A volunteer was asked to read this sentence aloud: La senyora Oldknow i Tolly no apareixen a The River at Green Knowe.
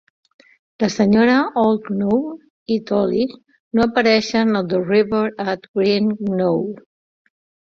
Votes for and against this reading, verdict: 1, 2, rejected